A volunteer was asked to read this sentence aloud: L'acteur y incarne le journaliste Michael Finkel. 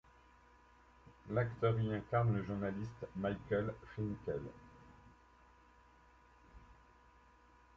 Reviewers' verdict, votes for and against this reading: accepted, 2, 0